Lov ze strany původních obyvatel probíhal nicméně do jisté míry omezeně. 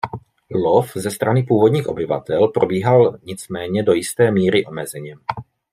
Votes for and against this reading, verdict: 2, 0, accepted